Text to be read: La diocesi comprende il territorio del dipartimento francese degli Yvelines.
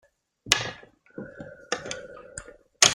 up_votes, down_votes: 0, 2